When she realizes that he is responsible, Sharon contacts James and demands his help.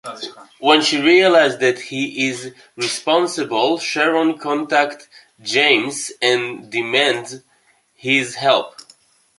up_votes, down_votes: 0, 2